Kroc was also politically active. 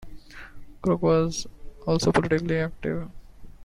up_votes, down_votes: 2, 0